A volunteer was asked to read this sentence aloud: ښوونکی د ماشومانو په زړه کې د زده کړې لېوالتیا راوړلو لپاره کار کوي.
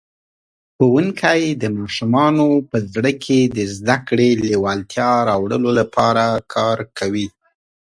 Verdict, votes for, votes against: accepted, 2, 0